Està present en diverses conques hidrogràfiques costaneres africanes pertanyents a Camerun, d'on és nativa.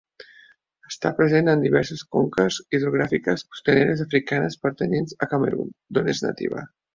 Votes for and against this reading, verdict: 2, 0, accepted